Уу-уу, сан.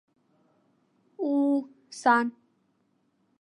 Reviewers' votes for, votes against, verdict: 1, 2, rejected